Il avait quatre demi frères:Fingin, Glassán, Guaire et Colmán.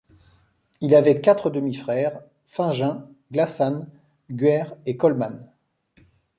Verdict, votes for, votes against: accepted, 2, 0